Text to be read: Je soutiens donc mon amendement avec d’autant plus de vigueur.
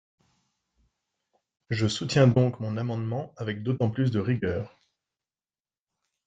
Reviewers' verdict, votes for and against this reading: rejected, 0, 3